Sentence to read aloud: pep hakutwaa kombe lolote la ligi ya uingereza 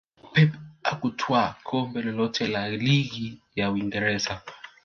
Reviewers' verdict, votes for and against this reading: rejected, 1, 2